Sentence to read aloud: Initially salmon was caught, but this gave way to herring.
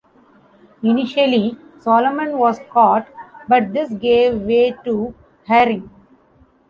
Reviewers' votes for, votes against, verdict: 0, 2, rejected